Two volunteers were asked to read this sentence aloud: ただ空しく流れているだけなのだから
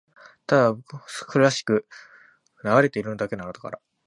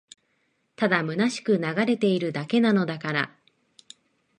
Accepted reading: second